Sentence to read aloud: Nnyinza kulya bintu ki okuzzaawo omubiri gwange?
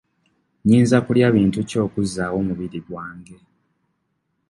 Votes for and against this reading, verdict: 2, 0, accepted